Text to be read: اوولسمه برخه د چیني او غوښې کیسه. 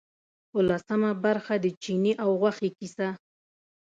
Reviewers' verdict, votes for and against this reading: accepted, 2, 0